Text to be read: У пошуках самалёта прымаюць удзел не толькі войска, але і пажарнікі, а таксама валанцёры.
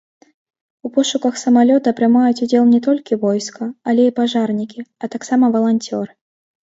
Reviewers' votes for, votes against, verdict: 1, 2, rejected